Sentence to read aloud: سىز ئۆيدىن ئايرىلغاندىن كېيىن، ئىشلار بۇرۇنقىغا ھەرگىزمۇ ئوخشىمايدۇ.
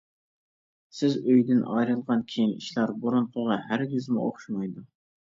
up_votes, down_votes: 1, 2